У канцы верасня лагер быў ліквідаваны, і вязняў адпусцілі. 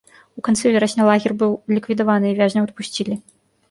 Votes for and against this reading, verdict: 1, 3, rejected